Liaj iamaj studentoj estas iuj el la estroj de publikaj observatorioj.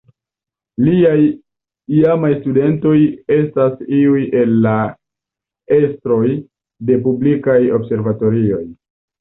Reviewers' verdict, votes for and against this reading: accepted, 2, 0